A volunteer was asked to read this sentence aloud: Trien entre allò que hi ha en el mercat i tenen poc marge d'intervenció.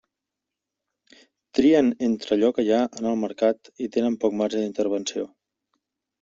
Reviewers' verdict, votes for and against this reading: accepted, 3, 0